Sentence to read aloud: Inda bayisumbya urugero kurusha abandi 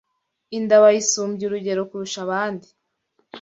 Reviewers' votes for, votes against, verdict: 2, 0, accepted